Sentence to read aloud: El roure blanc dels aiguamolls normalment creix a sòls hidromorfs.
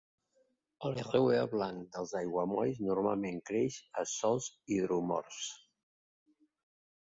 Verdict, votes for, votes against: rejected, 1, 3